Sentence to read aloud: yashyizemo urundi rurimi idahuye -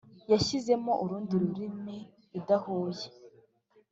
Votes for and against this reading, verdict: 3, 0, accepted